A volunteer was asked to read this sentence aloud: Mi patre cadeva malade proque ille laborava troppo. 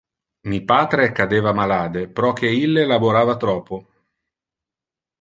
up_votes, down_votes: 1, 2